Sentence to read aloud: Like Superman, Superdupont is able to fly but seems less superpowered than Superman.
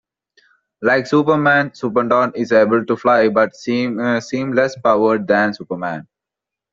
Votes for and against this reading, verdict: 2, 1, accepted